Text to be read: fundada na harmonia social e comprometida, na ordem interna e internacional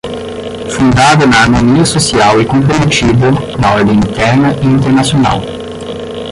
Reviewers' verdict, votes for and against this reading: rejected, 5, 10